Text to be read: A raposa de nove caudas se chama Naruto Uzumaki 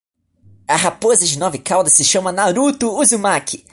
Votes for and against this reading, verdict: 1, 2, rejected